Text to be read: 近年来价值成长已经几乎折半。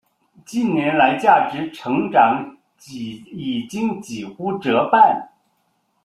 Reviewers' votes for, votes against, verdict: 0, 2, rejected